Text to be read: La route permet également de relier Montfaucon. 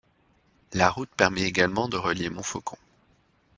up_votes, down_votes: 2, 0